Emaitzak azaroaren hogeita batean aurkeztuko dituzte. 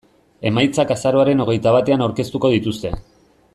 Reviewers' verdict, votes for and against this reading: accepted, 2, 0